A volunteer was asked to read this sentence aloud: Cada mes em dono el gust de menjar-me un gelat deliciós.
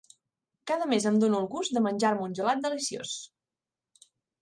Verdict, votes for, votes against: accepted, 3, 0